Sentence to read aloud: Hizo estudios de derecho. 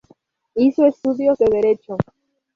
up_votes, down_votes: 0, 2